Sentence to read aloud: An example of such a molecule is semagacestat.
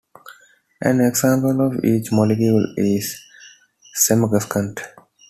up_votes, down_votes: 0, 2